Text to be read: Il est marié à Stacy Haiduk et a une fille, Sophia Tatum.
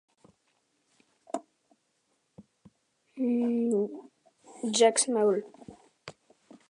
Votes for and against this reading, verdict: 0, 2, rejected